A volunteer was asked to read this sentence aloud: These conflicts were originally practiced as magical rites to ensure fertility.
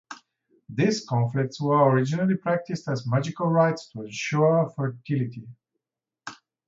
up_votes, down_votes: 0, 2